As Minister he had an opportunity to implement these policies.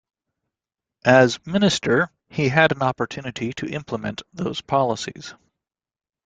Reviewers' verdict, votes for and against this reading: rejected, 0, 2